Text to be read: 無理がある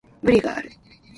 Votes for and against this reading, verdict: 1, 2, rejected